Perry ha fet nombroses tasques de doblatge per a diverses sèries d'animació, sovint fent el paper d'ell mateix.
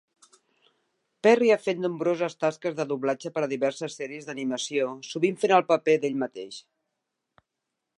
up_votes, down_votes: 4, 0